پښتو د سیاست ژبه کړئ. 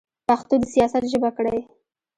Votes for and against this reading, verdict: 2, 0, accepted